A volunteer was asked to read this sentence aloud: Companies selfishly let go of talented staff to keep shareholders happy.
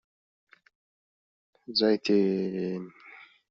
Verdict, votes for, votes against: rejected, 0, 2